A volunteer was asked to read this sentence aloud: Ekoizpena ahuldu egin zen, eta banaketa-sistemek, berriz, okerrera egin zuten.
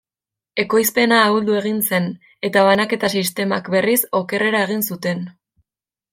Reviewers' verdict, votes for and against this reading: rejected, 1, 2